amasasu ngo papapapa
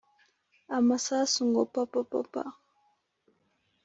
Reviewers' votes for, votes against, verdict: 3, 0, accepted